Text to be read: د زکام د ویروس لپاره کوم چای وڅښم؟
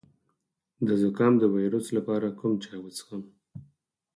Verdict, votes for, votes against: rejected, 2, 4